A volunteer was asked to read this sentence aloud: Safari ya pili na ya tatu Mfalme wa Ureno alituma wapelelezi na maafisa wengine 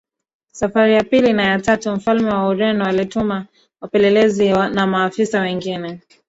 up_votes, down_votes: 1, 2